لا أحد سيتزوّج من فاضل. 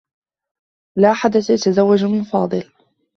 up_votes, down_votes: 2, 1